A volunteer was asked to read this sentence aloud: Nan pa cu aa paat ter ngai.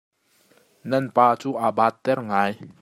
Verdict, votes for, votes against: accepted, 2, 0